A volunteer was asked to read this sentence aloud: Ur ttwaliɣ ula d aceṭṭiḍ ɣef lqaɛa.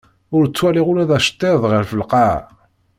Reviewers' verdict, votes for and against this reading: accepted, 2, 0